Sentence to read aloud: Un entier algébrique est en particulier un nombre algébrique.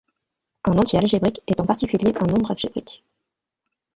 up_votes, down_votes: 1, 2